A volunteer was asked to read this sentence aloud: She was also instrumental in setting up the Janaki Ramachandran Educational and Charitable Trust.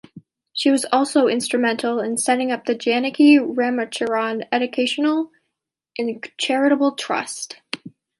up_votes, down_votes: 1, 2